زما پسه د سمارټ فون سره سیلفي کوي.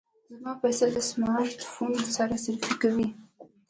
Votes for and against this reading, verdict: 2, 0, accepted